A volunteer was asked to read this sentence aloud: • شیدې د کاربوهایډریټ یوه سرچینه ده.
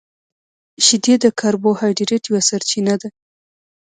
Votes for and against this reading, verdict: 1, 2, rejected